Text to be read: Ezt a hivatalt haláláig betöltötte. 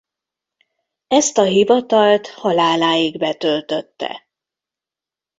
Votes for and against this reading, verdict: 0, 2, rejected